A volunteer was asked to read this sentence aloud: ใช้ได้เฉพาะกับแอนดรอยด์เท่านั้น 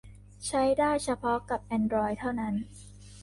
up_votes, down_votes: 2, 0